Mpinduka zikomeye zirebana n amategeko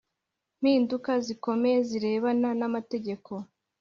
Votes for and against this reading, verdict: 2, 0, accepted